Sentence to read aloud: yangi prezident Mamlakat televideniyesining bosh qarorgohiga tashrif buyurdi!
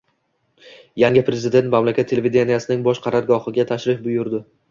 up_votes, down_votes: 1, 2